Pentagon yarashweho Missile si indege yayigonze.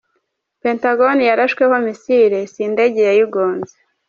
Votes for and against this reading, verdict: 2, 0, accepted